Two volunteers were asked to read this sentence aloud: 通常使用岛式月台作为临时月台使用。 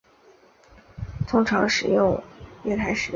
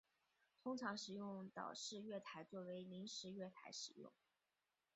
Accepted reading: second